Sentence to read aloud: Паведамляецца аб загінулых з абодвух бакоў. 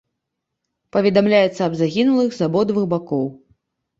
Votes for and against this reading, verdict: 2, 0, accepted